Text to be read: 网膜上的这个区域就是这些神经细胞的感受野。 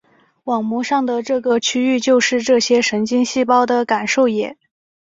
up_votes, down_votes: 8, 0